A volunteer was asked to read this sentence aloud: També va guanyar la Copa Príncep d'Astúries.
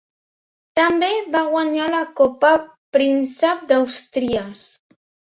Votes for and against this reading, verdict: 0, 2, rejected